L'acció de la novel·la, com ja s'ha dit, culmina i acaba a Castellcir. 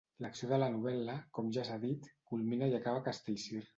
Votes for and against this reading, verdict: 1, 2, rejected